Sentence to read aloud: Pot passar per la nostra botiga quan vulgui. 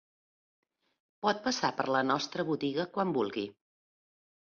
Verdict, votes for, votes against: accepted, 2, 0